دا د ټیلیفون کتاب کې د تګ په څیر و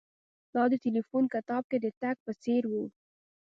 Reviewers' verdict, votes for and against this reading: accepted, 2, 0